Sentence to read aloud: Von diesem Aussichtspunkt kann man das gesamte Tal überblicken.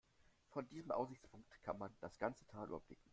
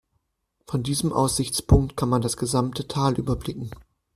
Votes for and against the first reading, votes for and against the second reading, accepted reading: 1, 2, 2, 0, second